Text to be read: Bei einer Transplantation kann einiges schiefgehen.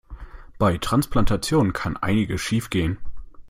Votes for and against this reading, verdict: 1, 2, rejected